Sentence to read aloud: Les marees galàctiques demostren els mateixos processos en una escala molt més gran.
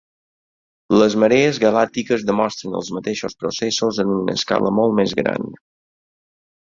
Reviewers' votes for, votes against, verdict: 4, 0, accepted